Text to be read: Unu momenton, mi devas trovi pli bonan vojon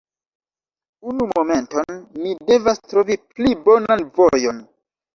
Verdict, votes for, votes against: accepted, 2, 1